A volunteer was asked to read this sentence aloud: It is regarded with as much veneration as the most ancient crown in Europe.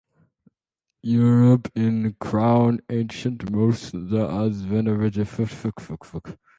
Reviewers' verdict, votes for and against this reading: rejected, 0, 2